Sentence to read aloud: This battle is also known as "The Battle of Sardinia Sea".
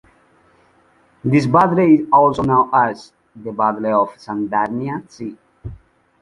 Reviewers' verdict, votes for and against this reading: rejected, 1, 2